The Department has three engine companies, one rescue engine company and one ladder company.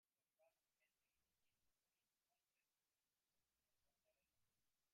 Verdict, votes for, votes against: rejected, 0, 2